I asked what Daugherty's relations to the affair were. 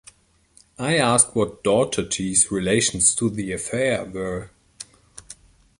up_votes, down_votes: 3, 0